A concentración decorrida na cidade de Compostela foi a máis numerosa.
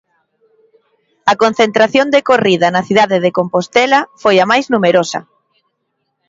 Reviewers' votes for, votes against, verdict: 3, 0, accepted